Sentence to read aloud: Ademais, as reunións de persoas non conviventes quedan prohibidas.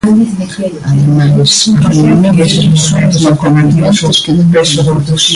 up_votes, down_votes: 0, 2